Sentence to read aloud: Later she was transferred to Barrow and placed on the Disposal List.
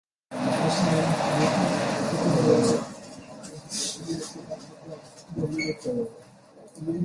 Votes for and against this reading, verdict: 1, 2, rejected